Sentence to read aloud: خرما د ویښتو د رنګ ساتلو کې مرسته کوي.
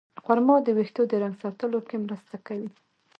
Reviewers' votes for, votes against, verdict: 2, 0, accepted